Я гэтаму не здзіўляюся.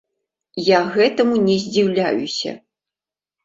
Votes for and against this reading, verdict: 2, 0, accepted